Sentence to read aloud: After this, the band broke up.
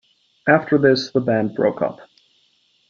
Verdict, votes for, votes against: accepted, 2, 0